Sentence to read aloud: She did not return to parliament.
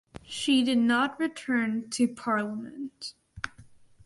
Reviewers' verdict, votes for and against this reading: rejected, 2, 2